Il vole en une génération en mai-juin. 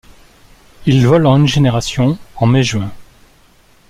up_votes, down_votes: 2, 0